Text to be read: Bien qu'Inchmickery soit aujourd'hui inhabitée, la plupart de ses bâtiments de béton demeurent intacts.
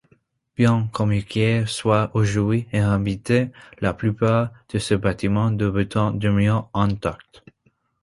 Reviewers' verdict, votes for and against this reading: accepted, 2, 1